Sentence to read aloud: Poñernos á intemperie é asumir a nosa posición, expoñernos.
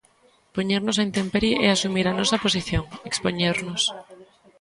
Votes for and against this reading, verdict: 1, 2, rejected